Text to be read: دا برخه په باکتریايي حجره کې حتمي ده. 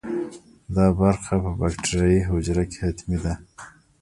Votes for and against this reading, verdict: 0, 2, rejected